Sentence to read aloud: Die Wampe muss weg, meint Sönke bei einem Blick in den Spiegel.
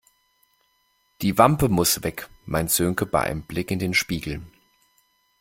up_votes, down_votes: 2, 0